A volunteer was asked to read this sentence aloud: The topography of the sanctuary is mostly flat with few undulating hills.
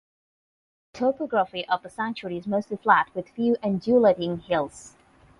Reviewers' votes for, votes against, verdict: 0, 8, rejected